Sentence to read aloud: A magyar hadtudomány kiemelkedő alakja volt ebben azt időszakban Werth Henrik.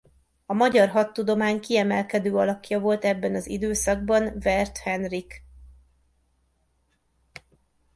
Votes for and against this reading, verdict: 1, 2, rejected